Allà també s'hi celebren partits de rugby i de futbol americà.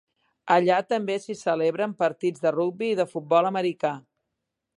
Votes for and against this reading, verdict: 2, 0, accepted